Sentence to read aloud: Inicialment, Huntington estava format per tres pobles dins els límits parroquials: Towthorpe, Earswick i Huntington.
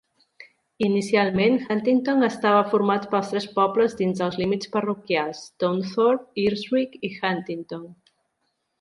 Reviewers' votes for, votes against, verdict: 2, 3, rejected